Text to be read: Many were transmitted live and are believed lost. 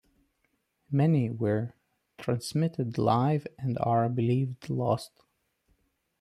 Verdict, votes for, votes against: rejected, 0, 2